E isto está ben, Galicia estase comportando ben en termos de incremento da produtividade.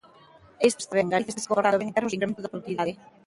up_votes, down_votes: 0, 2